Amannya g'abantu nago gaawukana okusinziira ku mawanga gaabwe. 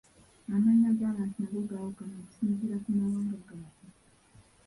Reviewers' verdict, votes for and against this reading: accepted, 2, 1